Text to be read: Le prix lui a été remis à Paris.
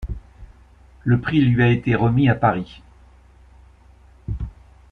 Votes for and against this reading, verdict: 2, 0, accepted